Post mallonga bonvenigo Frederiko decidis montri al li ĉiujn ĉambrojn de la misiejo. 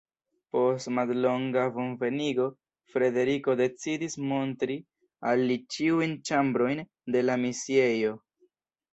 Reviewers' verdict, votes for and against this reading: accepted, 2, 0